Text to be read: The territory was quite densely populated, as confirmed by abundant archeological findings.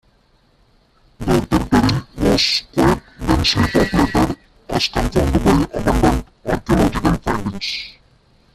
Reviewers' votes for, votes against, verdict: 0, 2, rejected